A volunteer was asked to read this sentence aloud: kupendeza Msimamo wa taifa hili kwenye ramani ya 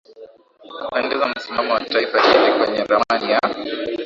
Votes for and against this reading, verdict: 4, 2, accepted